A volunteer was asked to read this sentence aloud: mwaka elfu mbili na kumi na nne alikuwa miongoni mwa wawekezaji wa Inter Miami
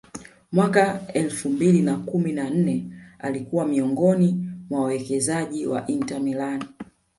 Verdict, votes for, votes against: rejected, 0, 2